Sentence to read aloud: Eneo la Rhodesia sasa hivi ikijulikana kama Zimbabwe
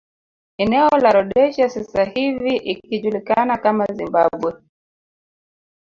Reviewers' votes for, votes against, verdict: 0, 3, rejected